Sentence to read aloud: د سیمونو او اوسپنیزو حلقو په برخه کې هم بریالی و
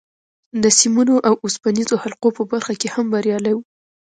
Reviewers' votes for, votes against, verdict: 2, 0, accepted